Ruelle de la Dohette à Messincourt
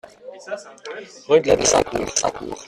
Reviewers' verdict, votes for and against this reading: rejected, 0, 2